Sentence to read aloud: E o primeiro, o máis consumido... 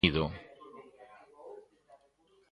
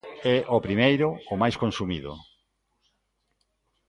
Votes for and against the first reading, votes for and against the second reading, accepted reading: 0, 2, 2, 0, second